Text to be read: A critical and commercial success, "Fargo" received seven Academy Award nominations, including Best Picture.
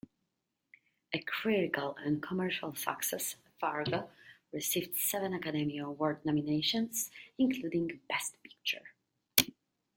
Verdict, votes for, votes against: rejected, 1, 2